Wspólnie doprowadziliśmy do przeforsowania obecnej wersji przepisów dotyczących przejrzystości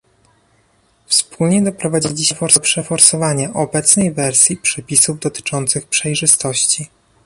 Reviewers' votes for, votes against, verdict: 2, 0, accepted